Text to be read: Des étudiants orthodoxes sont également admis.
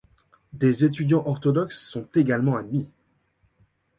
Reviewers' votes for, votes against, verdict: 2, 0, accepted